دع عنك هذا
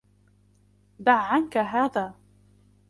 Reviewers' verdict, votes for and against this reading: accepted, 2, 0